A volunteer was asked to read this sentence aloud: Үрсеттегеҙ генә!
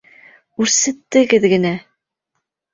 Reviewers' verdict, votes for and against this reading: accepted, 3, 0